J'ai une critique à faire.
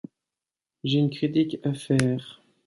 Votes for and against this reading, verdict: 2, 0, accepted